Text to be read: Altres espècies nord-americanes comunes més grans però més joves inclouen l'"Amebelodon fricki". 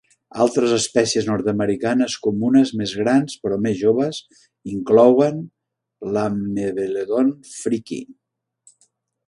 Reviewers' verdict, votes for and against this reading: accepted, 2, 0